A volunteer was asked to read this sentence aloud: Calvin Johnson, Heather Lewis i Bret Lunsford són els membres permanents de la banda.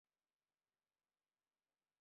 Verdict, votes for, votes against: rejected, 0, 2